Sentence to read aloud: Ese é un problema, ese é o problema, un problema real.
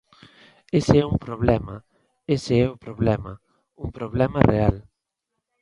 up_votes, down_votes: 2, 0